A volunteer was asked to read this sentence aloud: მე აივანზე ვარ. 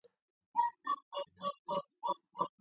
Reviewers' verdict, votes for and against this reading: rejected, 0, 2